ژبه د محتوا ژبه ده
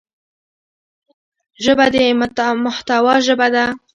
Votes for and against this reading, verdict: 2, 0, accepted